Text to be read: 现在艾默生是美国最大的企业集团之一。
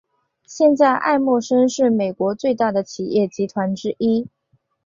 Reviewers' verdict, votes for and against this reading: accepted, 4, 0